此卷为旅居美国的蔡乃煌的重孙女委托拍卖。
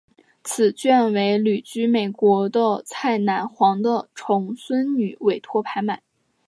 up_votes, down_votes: 3, 0